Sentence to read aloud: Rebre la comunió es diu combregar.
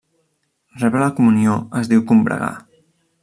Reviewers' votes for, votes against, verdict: 1, 2, rejected